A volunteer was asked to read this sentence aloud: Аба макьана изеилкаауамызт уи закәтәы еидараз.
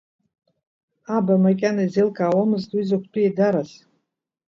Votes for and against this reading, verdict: 2, 0, accepted